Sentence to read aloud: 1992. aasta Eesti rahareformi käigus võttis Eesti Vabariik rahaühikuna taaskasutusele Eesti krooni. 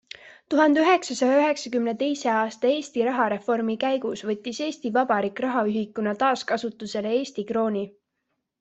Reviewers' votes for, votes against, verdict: 0, 2, rejected